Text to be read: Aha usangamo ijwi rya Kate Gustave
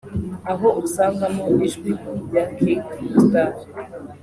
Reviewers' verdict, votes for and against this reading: rejected, 1, 2